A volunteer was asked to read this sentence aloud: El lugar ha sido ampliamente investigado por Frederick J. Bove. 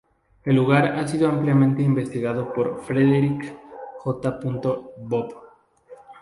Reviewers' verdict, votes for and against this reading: rejected, 2, 2